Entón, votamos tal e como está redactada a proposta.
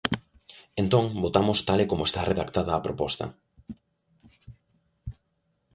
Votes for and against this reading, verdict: 2, 0, accepted